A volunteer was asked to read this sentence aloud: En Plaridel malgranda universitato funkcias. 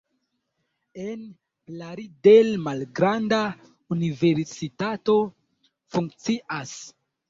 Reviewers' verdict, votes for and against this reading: rejected, 1, 2